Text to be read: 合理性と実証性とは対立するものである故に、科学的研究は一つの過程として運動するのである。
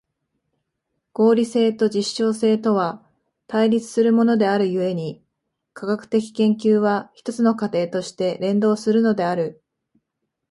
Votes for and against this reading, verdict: 2, 1, accepted